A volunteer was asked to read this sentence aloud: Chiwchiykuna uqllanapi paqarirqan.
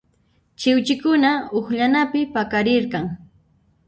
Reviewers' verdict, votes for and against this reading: rejected, 0, 2